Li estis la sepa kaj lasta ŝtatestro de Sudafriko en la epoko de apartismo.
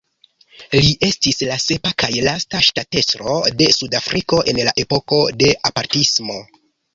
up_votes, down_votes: 2, 0